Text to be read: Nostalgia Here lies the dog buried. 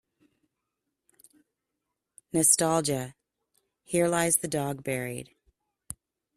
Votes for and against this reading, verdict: 2, 0, accepted